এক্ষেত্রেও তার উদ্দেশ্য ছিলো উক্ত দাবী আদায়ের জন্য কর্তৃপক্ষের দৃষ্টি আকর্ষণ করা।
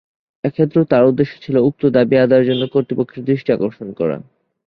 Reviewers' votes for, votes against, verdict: 12, 0, accepted